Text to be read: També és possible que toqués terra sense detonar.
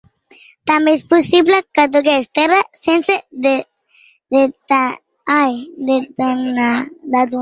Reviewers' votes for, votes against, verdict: 0, 2, rejected